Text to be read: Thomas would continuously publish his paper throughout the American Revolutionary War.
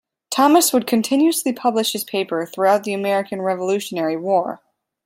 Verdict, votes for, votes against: accepted, 2, 0